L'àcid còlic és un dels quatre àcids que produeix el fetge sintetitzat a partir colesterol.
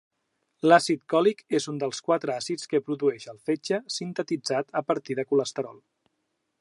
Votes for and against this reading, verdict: 2, 0, accepted